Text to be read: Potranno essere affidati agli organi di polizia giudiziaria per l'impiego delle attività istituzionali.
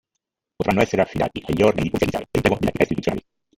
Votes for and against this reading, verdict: 0, 2, rejected